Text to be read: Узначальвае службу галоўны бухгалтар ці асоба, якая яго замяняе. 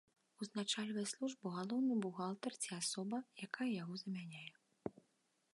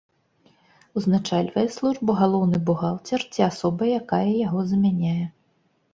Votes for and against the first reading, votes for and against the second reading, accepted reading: 2, 0, 1, 2, first